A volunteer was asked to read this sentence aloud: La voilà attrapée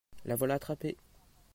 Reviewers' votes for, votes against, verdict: 2, 0, accepted